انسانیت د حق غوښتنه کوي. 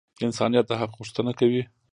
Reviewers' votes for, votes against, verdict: 0, 2, rejected